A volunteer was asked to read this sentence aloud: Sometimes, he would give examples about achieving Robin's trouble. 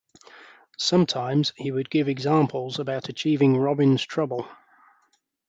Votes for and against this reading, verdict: 2, 0, accepted